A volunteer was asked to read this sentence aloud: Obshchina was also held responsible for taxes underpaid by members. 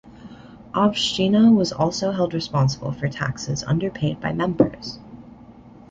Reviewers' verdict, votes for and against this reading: accepted, 2, 0